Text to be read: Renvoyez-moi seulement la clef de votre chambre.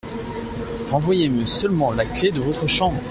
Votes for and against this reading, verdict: 0, 2, rejected